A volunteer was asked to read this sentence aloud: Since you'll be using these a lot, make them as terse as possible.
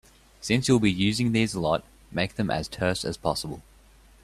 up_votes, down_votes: 2, 0